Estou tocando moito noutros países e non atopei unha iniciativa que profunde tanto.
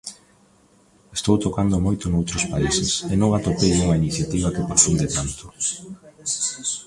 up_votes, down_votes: 2, 1